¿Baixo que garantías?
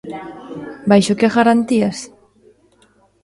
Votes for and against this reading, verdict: 0, 2, rejected